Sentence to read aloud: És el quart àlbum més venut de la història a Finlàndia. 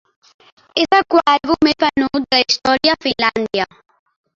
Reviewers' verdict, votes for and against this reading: rejected, 0, 4